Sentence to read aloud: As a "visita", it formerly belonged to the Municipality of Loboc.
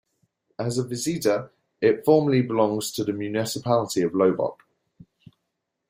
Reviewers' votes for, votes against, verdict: 0, 2, rejected